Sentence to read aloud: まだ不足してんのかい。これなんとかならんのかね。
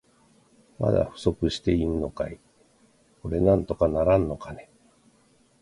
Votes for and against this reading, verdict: 1, 2, rejected